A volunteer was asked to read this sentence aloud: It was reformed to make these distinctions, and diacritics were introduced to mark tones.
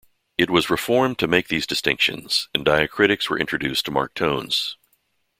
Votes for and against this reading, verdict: 2, 0, accepted